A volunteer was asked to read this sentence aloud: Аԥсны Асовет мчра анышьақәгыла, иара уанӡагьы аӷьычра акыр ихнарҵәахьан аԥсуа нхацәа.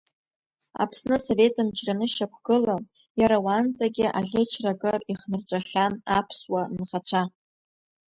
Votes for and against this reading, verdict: 2, 0, accepted